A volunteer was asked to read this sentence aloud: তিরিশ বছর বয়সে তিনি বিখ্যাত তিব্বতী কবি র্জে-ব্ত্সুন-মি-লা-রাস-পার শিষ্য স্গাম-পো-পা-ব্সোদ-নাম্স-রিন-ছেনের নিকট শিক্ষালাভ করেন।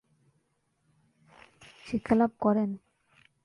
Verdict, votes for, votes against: rejected, 0, 2